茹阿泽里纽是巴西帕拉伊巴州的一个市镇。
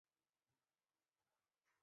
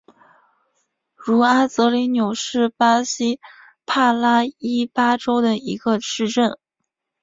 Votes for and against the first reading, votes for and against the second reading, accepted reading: 3, 5, 5, 0, second